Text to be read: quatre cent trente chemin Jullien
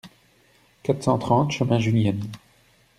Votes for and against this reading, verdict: 0, 2, rejected